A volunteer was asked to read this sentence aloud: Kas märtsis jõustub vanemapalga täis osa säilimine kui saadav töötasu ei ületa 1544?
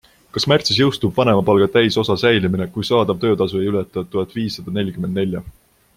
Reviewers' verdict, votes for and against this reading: rejected, 0, 2